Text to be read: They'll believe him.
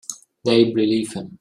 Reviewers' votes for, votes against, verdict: 1, 2, rejected